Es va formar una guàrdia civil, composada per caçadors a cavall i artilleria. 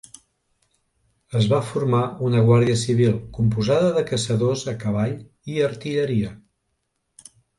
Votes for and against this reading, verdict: 1, 2, rejected